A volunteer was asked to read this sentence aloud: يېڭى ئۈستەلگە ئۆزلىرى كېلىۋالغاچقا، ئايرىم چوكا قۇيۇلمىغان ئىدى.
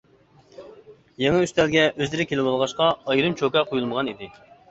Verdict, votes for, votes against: accepted, 2, 0